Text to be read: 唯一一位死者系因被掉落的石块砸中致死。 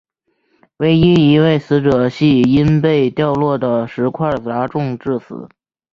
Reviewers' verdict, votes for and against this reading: accepted, 8, 0